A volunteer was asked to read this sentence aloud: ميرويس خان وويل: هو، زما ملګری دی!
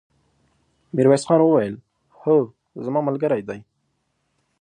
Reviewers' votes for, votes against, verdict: 2, 0, accepted